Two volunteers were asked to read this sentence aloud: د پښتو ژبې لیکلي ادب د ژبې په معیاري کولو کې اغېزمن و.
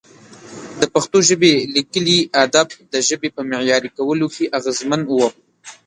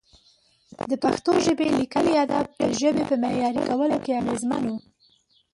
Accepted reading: first